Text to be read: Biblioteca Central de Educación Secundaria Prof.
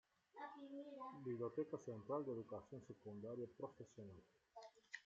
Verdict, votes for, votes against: rejected, 0, 2